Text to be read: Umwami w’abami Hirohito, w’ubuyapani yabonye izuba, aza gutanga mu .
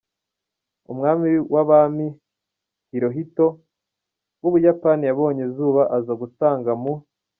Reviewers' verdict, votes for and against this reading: rejected, 1, 2